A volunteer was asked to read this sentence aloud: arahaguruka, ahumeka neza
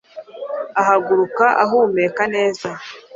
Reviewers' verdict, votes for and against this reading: rejected, 1, 2